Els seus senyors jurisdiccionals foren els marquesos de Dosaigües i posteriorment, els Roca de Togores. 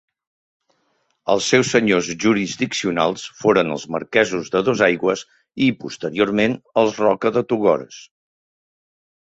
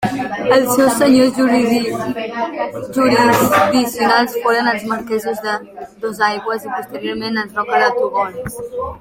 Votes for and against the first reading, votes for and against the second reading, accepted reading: 2, 0, 1, 2, first